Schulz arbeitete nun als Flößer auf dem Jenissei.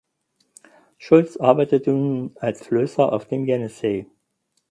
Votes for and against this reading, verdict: 2, 4, rejected